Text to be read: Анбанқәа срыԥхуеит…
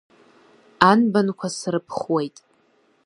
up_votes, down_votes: 2, 0